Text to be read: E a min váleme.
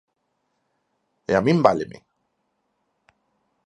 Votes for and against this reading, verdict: 4, 0, accepted